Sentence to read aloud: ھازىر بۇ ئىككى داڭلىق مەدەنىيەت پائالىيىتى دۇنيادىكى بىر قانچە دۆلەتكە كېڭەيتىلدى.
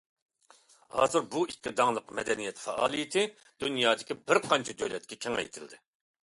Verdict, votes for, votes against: accepted, 2, 0